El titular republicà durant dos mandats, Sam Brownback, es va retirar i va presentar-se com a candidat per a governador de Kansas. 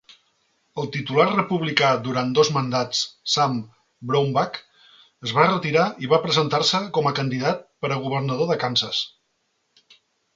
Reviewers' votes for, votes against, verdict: 2, 1, accepted